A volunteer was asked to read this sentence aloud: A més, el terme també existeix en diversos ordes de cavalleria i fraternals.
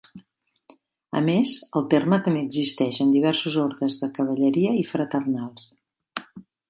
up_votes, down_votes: 2, 0